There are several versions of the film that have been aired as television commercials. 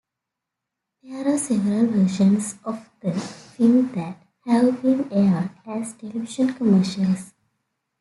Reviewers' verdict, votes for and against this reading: accepted, 2, 1